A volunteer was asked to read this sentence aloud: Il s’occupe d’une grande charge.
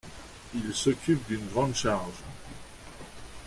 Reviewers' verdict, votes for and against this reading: rejected, 1, 2